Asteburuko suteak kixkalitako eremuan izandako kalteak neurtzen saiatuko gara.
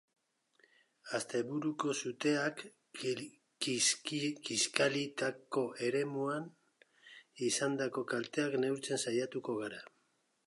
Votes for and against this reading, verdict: 0, 2, rejected